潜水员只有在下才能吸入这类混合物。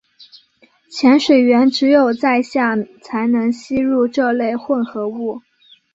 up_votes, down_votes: 2, 0